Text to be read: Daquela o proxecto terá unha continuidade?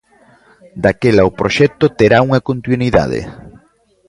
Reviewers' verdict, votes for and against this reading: rejected, 1, 2